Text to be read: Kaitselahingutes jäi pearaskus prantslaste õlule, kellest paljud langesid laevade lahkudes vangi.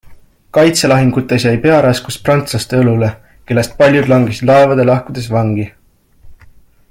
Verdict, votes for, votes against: accepted, 3, 0